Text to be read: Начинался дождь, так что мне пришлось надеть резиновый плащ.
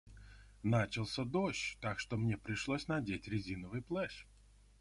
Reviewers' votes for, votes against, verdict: 0, 2, rejected